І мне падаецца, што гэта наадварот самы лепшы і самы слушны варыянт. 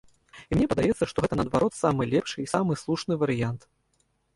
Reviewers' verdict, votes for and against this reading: rejected, 0, 2